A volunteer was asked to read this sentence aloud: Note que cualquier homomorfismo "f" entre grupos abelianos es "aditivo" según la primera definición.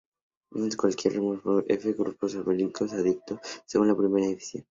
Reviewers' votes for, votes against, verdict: 0, 2, rejected